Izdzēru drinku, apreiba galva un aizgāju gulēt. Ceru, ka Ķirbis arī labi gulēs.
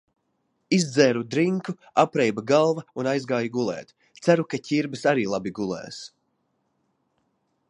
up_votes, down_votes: 2, 0